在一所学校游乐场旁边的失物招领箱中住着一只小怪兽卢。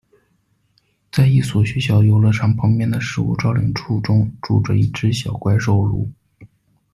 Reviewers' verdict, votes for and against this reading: rejected, 0, 2